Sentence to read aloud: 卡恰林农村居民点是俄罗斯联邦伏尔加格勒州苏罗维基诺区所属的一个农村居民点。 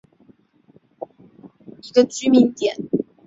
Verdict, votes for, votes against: rejected, 0, 3